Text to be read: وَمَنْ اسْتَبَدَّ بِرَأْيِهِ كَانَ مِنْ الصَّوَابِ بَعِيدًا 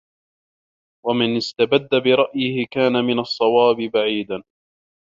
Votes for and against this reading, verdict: 1, 2, rejected